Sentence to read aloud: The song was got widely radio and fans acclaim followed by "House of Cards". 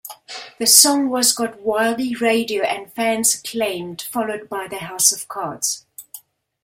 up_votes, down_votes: 0, 2